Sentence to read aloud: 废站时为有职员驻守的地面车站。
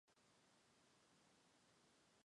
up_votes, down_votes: 0, 2